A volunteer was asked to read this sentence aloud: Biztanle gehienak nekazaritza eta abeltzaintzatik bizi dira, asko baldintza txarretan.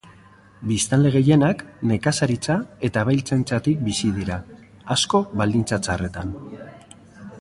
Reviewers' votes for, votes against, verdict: 3, 0, accepted